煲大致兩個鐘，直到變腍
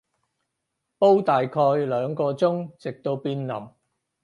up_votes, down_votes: 0, 4